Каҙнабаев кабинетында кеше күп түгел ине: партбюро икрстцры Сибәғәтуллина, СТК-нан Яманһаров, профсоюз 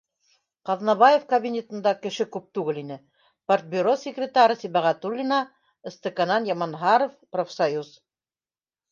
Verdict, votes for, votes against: rejected, 0, 2